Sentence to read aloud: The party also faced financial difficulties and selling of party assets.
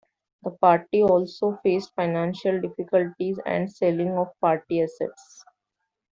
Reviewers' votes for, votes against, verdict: 2, 0, accepted